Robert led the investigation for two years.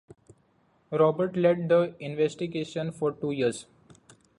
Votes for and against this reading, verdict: 2, 1, accepted